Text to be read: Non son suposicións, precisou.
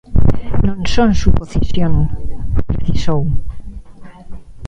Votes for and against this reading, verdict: 0, 2, rejected